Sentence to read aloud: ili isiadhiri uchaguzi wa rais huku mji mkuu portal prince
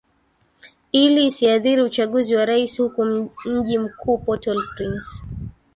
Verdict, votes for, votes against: accepted, 2, 0